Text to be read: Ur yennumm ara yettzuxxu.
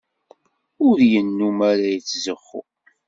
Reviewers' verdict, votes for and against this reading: accepted, 2, 0